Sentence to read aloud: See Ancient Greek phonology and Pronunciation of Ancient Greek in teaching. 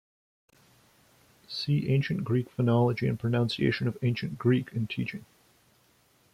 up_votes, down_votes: 2, 1